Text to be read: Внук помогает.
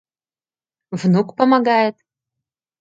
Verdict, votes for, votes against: accepted, 2, 0